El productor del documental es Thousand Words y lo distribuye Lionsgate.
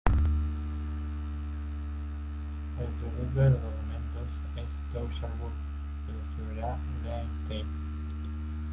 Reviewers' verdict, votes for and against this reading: rejected, 0, 2